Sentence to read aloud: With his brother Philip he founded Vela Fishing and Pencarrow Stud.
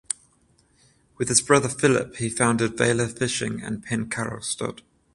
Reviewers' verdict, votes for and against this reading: accepted, 14, 0